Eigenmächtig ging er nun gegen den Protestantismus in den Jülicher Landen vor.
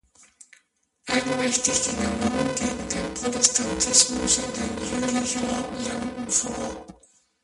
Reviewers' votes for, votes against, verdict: 0, 2, rejected